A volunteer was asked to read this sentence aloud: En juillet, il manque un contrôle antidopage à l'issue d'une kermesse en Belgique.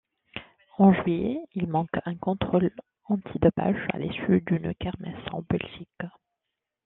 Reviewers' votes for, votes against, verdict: 2, 0, accepted